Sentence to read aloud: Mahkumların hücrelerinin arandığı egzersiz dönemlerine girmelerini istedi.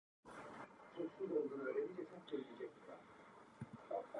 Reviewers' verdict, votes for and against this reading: rejected, 0, 2